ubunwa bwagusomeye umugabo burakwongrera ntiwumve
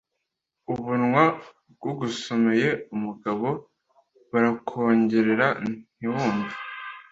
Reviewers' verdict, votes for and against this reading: rejected, 1, 2